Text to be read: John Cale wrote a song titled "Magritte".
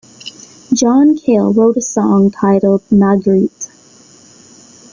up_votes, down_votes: 2, 0